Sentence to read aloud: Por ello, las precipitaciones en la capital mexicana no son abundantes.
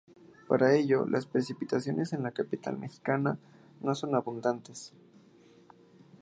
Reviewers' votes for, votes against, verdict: 3, 1, accepted